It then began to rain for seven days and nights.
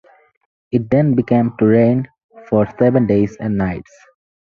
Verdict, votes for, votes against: accepted, 4, 0